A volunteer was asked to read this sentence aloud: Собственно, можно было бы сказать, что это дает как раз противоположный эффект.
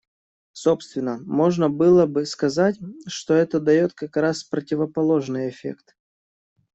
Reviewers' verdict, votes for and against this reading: accepted, 2, 0